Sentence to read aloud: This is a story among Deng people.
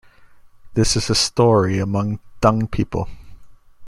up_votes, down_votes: 0, 2